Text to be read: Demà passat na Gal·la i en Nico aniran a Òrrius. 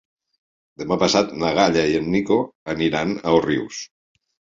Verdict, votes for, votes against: rejected, 0, 2